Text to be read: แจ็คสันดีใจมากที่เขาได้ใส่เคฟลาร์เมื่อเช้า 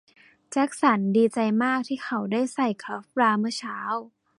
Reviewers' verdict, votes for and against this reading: rejected, 1, 2